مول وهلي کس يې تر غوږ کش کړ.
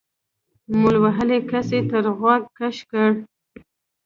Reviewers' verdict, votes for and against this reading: accepted, 2, 1